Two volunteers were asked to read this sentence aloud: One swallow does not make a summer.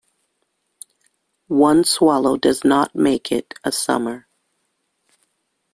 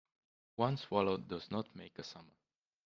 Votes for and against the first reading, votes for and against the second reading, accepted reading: 1, 2, 2, 0, second